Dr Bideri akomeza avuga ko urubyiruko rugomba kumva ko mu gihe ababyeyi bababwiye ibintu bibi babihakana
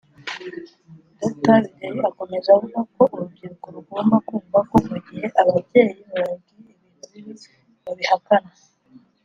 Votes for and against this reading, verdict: 2, 0, accepted